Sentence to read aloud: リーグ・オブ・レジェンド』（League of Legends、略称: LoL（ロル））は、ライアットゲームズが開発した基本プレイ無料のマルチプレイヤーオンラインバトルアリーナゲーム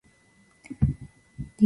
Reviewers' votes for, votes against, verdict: 0, 2, rejected